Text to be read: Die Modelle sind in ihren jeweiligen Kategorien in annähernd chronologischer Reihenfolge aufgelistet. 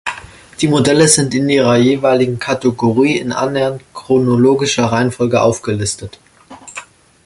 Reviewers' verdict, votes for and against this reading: rejected, 1, 2